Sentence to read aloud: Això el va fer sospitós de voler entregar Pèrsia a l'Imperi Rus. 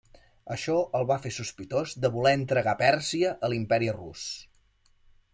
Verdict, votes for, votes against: accepted, 3, 0